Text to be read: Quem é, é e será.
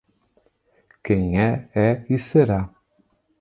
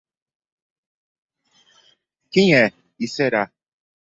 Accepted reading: first